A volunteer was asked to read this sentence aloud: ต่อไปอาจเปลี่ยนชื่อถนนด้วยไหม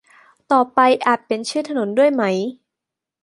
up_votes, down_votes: 2, 0